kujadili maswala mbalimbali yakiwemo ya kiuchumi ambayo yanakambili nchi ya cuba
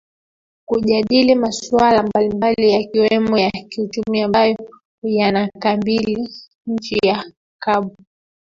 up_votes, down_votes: 0, 2